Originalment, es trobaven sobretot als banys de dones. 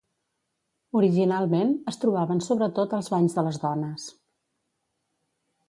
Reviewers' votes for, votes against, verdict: 1, 2, rejected